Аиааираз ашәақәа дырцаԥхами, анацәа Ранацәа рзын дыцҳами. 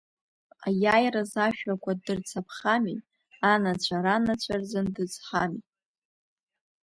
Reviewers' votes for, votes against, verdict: 2, 0, accepted